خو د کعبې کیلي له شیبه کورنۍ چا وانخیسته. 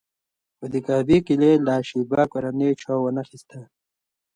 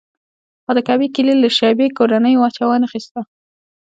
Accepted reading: first